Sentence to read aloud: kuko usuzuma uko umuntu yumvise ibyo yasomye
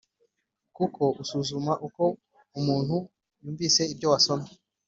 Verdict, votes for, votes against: accepted, 4, 0